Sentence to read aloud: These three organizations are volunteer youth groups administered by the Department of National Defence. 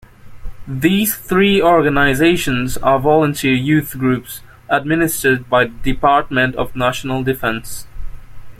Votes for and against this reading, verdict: 2, 0, accepted